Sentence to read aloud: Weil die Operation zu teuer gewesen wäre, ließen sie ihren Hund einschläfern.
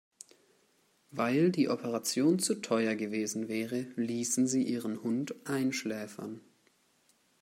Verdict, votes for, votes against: accepted, 2, 0